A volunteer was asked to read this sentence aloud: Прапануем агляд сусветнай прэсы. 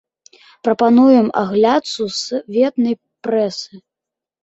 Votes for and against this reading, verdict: 2, 0, accepted